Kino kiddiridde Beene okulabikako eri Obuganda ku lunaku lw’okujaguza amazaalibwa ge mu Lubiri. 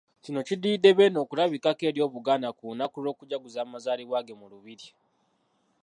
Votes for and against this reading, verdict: 0, 2, rejected